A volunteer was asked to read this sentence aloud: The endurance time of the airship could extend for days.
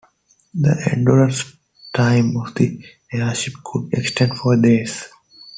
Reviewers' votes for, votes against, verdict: 2, 0, accepted